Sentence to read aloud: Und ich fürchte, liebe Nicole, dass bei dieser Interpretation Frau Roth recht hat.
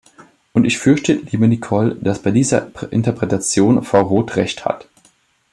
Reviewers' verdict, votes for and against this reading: rejected, 1, 2